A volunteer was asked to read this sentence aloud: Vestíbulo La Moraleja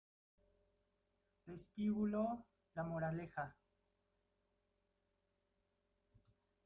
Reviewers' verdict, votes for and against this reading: rejected, 0, 2